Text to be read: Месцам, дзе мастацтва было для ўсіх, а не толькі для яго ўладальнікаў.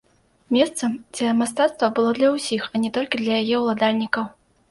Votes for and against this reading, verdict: 0, 2, rejected